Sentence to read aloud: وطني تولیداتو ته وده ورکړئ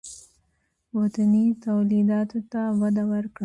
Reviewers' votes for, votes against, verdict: 3, 0, accepted